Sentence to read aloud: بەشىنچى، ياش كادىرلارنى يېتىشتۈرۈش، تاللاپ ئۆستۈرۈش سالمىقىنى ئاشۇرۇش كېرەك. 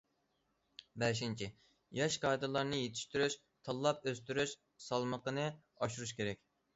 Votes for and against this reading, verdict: 2, 0, accepted